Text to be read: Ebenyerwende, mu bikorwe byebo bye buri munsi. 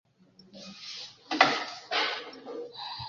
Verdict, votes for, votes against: rejected, 0, 2